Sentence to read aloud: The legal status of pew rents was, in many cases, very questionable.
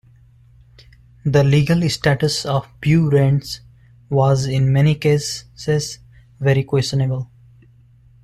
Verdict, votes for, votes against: rejected, 1, 2